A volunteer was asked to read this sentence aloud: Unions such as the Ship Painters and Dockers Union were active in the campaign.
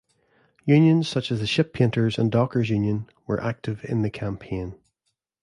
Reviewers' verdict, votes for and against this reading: accepted, 2, 0